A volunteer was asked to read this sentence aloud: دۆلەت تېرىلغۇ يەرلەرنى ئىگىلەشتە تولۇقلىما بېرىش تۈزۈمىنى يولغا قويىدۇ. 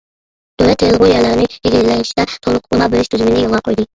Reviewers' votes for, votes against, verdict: 0, 2, rejected